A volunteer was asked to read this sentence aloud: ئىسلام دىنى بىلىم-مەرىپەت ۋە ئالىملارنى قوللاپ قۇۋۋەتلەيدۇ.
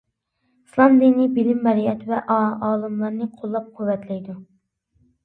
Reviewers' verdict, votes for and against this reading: rejected, 0, 2